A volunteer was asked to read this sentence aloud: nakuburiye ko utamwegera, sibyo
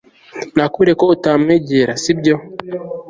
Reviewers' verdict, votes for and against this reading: accepted, 2, 1